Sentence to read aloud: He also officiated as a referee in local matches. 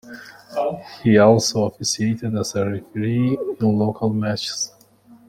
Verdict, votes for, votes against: rejected, 0, 2